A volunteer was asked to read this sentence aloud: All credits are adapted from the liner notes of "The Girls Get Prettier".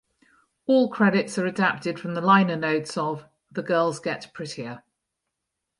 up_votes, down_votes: 2, 0